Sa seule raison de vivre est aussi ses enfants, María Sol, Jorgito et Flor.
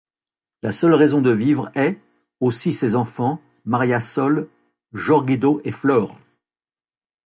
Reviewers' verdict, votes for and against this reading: rejected, 1, 2